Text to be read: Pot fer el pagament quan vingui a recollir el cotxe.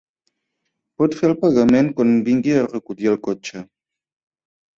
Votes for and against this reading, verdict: 3, 0, accepted